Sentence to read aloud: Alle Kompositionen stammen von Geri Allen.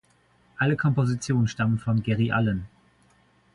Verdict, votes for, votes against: accepted, 2, 0